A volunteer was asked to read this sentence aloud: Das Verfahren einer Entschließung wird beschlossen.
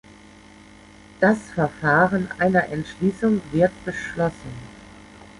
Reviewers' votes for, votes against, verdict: 2, 0, accepted